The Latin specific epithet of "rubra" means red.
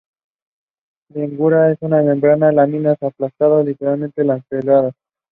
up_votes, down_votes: 0, 2